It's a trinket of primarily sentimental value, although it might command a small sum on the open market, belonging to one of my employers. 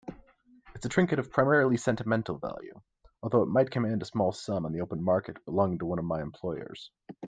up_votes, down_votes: 2, 0